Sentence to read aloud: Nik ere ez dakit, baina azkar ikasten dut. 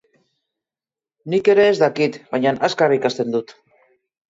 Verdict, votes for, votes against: accepted, 2, 0